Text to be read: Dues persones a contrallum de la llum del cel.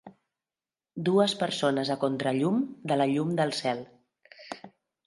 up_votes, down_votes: 2, 0